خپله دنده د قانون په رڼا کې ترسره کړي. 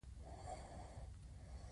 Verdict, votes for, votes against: accepted, 2, 0